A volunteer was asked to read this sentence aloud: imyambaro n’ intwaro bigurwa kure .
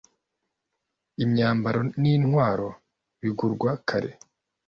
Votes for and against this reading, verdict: 1, 2, rejected